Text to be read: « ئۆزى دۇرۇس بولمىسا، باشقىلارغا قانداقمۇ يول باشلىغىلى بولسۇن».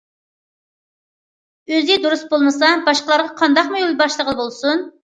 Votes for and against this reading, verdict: 2, 0, accepted